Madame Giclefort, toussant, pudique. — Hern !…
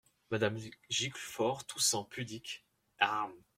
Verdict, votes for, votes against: rejected, 1, 2